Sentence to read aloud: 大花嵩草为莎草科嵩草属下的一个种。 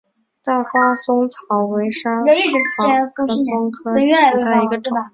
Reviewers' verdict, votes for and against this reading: rejected, 0, 2